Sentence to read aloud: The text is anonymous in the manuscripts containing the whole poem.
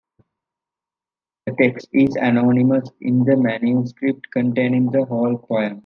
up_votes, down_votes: 1, 2